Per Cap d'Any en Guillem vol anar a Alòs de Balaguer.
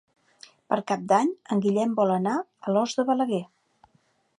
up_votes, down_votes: 2, 0